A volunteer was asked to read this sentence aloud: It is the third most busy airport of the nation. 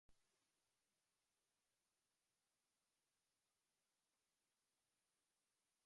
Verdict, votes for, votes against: rejected, 0, 2